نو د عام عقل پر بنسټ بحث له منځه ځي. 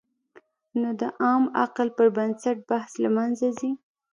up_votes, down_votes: 2, 0